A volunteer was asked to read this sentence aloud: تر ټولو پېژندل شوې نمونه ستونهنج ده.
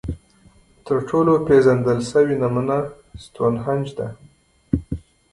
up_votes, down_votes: 2, 0